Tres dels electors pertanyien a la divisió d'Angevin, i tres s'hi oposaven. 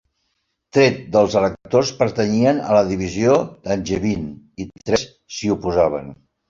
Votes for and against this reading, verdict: 1, 2, rejected